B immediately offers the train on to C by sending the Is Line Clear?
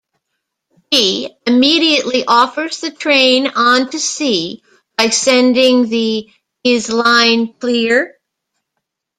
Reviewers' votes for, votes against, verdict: 2, 1, accepted